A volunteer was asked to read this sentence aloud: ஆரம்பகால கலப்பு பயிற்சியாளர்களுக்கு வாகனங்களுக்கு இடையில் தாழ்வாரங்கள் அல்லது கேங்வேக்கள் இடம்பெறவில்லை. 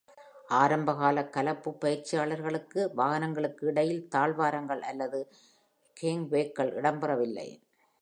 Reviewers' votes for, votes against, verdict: 2, 0, accepted